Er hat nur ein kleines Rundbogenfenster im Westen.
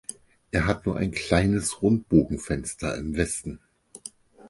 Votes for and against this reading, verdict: 4, 0, accepted